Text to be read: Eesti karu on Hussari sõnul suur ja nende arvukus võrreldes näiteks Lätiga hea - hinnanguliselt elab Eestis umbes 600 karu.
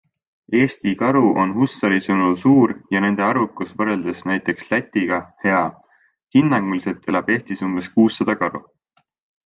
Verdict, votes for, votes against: rejected, 0, 2